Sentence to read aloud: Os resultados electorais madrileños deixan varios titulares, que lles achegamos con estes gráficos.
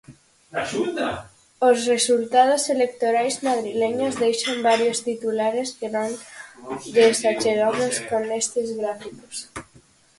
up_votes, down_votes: 0, 4